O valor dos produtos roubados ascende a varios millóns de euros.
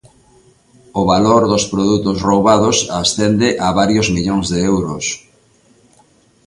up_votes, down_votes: 2, 0